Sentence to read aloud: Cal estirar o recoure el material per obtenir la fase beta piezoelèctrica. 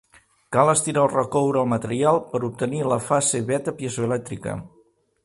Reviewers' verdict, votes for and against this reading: accepted, 3, 0